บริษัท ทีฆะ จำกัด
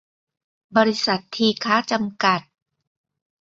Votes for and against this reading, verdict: 2, 1, accepted